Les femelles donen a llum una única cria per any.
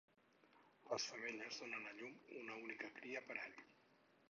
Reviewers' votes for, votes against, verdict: 2, 4, rejected